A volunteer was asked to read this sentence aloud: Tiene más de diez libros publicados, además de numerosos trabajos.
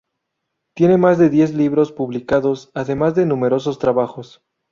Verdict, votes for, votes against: rejected, 0, 2